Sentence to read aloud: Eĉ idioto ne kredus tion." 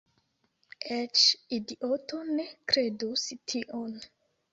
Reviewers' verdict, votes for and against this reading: accepted, 2, 0